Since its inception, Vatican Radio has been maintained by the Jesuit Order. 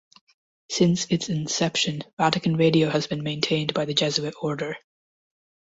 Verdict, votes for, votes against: accepted, 3, 0